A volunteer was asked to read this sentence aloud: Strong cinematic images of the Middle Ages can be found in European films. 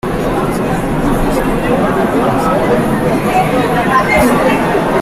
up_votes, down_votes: 0, 3